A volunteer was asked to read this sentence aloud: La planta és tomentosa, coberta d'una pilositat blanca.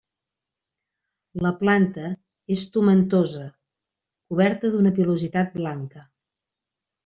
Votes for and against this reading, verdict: 0, 2, rejected